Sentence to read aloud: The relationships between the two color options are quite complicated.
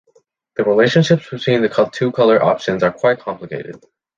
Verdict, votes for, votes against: rejected, 2, 3